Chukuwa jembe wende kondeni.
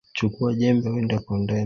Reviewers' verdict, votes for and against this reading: rejected, 1, 2